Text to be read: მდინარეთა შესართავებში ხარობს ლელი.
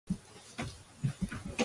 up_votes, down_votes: 0, 2